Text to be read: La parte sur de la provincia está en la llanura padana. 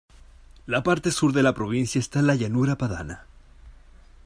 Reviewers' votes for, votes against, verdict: 1, 2, rejected